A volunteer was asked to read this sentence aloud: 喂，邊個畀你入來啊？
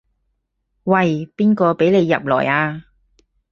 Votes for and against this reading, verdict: 4, 0, accepted